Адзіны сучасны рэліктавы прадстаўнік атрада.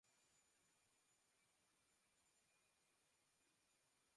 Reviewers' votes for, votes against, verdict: 0, 2, rejected